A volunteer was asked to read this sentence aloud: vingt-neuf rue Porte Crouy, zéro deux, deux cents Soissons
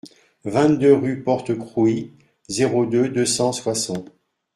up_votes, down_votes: 0, 2